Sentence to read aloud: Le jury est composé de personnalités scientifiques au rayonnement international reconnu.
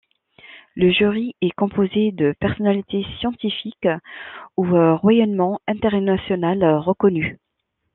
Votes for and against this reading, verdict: 0, 2, rejected